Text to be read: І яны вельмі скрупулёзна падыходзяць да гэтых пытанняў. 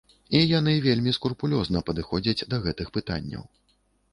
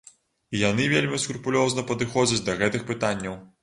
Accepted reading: second